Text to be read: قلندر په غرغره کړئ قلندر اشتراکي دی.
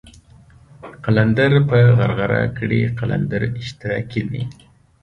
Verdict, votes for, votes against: accepted, 2, 0